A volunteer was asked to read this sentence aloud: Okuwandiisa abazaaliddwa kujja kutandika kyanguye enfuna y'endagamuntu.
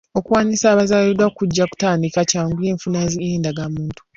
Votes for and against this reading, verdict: 1, 2, rejected